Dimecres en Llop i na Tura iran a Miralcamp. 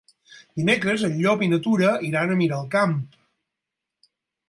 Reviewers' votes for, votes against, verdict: 12, 0, accepted